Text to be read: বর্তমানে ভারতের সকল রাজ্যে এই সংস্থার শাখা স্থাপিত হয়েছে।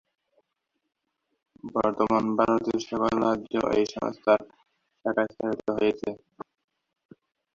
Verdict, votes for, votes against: rejected, 0, 2